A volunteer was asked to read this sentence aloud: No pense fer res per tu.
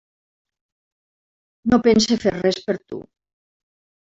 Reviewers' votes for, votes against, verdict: 3, 1, accepted